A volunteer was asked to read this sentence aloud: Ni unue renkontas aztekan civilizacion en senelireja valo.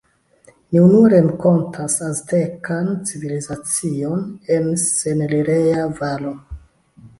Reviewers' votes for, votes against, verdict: 1, 2, rejected